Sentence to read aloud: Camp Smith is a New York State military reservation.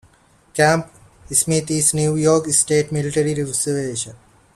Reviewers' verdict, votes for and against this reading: rejected, 0, 2